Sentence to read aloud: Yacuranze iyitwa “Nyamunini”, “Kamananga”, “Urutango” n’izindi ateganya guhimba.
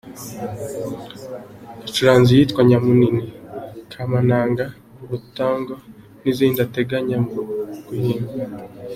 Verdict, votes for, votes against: accepted, 2, 1